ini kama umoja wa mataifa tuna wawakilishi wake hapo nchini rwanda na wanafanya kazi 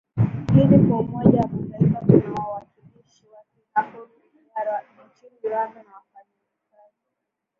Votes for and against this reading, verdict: 2, 1, accepted